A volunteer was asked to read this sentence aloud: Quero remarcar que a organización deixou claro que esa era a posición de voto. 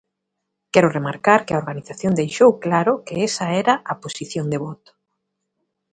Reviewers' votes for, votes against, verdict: 2, 0, accepted